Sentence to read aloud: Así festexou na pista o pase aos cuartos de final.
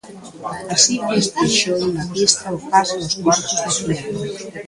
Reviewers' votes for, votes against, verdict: 0, 2, rejected